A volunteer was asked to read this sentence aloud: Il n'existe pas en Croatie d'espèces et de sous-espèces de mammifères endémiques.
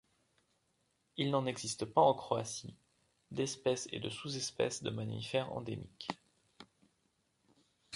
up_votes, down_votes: 0, 2